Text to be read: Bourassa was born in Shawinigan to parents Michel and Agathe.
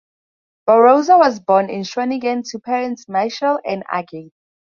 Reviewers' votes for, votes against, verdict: 2, 4, rejected